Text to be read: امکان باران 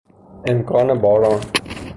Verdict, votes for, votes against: rejected, 0, 3